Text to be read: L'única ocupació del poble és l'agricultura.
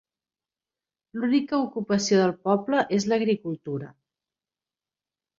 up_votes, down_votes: 3, 0